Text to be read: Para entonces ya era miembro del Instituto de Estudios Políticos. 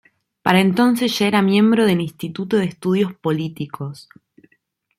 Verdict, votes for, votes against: accepted, 2, 0